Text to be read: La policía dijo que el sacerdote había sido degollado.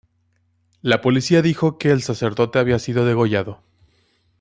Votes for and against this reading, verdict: 2, 1, accepted